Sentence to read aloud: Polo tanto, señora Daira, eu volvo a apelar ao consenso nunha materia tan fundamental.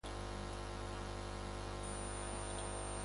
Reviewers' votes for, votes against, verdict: 0, 3, rejected